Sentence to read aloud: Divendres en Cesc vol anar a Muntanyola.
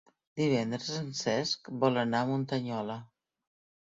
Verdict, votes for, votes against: accepted, 4, 0